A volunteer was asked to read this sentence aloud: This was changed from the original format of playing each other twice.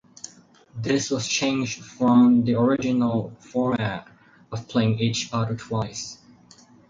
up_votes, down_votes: 0, 4